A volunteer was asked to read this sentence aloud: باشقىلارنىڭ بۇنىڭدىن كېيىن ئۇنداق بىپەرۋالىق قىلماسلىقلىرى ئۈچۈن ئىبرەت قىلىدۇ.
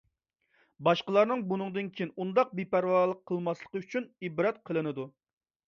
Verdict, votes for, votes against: rejected, 0, 2